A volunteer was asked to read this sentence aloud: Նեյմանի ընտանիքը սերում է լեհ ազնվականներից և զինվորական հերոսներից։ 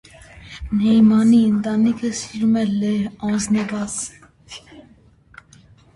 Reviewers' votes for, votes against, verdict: 0, 2, rejected